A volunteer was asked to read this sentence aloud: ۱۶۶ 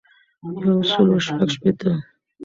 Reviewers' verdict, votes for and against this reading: rejected, 0, 2